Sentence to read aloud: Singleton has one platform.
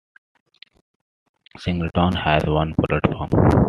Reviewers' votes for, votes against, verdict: 1, 2, rejected